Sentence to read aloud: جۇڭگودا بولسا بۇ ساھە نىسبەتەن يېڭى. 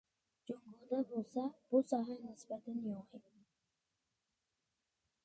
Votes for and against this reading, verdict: 0, 2, rejected